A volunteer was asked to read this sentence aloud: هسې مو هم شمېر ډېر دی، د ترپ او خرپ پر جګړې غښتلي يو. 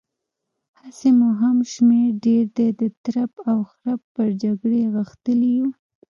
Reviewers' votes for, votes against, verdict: 1, 2, rejected